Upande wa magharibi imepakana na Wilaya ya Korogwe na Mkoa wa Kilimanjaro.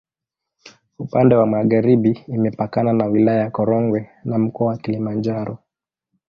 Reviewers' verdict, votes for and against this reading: rejected, 0, 2